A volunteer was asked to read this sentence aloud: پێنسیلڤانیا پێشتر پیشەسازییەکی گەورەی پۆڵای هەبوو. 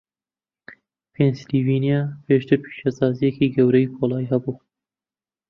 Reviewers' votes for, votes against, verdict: 0, 2, rejected